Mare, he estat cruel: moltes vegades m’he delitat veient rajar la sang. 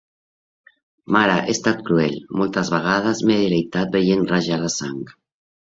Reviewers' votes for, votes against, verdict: 2, 0, accepted